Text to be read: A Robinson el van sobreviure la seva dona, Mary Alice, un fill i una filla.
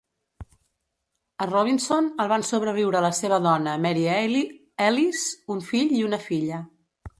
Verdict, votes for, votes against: rejected, 1, 2